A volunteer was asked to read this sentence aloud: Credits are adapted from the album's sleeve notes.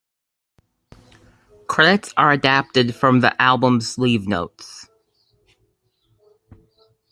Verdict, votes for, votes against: accepted, 2, 0